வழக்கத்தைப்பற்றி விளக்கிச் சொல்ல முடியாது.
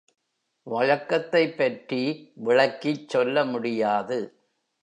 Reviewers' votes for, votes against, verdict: 3, 0, accepted